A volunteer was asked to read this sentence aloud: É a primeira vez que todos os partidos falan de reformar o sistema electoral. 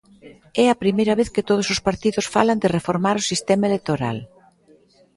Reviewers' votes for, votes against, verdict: 0, 2, rejected